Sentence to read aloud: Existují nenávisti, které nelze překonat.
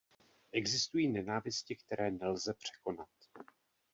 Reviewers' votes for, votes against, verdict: 2, 0, accepted